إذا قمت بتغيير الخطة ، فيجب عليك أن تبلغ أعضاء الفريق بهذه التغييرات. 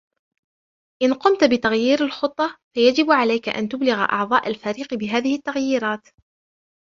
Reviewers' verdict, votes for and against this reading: accepted, 2, 0